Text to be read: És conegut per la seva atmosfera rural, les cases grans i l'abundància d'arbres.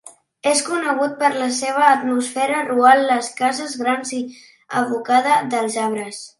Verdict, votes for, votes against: rejected, 0, 2